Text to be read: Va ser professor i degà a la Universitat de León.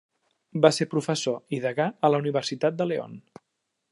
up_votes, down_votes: 3, 0